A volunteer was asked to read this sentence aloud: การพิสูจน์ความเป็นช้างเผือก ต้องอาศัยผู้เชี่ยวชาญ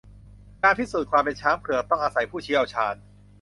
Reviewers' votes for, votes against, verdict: 4, 0, accepted